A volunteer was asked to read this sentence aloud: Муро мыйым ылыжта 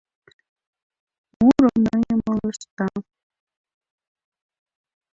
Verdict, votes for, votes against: rejected, 0, 2